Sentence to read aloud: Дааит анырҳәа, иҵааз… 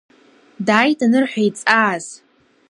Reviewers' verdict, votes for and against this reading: accepted, 2, 0